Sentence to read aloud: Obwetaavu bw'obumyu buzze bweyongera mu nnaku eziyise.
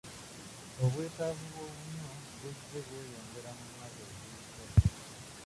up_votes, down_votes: 0, 2